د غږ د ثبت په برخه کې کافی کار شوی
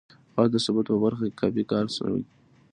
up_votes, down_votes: 2, 0